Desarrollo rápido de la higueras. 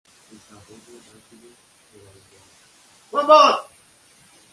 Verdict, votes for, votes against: rejected, 0, 2